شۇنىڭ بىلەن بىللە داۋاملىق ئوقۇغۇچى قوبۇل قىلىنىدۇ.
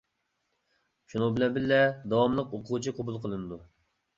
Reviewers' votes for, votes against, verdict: 2, 0, accepted